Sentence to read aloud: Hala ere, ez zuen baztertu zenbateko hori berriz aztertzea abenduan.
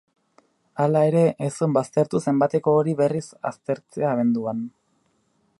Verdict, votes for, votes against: accepted, 6, 0